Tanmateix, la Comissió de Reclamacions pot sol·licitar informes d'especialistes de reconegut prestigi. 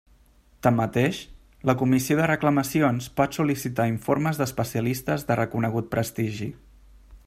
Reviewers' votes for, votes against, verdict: 3, 0, accepted